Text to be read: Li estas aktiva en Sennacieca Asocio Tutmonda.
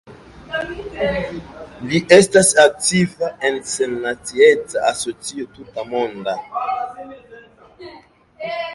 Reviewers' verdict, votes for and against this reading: rejected, 1, 2